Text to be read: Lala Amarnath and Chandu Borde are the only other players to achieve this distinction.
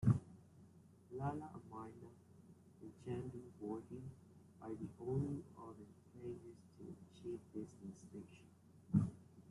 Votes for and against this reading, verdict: 0, 2, rejected